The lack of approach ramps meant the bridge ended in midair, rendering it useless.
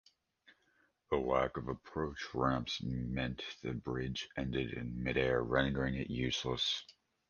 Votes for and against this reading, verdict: 2, 0, accepted